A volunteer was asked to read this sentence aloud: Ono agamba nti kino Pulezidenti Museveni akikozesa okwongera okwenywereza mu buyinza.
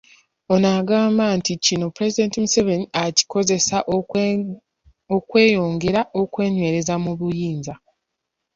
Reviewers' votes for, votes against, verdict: 0, 2, rejected